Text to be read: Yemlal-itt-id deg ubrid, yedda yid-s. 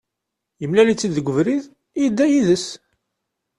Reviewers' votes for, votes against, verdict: 2, 0, accepted